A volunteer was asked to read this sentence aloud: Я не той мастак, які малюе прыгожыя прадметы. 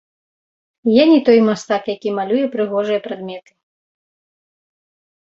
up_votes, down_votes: 1, 2